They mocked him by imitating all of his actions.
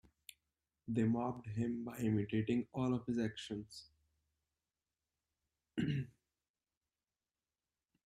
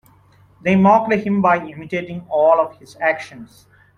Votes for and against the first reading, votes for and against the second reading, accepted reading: 0, 2, 2, 0, second